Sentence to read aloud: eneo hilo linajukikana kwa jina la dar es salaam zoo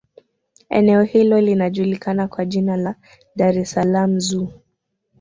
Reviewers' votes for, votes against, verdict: 2, 1, accepted